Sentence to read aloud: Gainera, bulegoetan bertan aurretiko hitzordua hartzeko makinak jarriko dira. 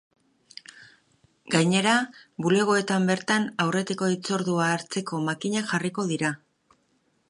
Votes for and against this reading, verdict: 2, 0, accepted